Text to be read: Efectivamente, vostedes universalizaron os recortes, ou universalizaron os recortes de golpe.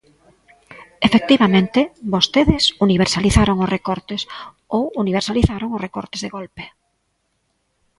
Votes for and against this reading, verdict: 1, 2, rejected